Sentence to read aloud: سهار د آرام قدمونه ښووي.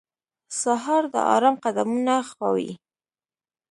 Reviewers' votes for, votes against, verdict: 1, 2, rejected